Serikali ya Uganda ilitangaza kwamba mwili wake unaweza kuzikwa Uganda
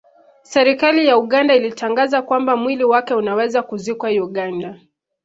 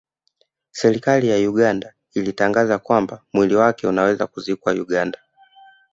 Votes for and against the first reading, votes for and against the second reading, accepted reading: 2, 0, 0, 2, first